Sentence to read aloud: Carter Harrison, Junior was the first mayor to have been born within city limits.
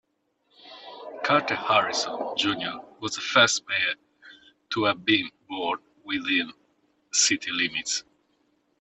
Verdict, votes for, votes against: accepted, 2, 0